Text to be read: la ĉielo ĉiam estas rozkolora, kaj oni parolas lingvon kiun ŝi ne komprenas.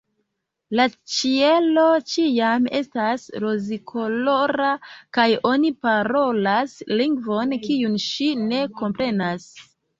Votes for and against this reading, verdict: 1, 2, rejected